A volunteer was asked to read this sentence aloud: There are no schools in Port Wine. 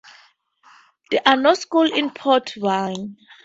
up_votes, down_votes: 2, 2